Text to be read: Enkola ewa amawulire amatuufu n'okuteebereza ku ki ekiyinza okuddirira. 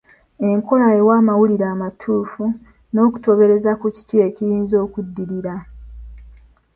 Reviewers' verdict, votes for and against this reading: accepted, 2, 0